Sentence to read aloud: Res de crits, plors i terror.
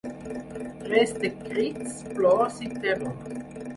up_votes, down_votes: 4, 0